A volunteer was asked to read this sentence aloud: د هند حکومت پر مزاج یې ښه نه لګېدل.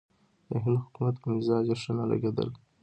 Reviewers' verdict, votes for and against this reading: accepted, 2, 0